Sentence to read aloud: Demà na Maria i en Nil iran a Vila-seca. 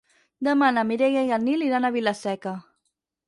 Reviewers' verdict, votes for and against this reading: rejected, 2, 4